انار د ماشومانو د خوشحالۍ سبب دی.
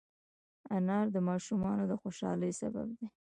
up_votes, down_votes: 1, 2